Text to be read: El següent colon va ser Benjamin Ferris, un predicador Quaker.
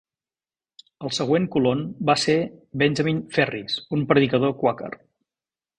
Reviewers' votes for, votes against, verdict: 2, 0, accepted